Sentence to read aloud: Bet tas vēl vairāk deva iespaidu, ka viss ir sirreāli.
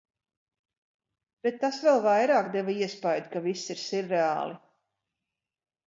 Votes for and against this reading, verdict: 4, 0, accepted